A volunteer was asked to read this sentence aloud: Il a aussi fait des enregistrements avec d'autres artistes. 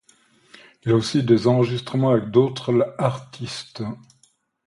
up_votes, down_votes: 2, 0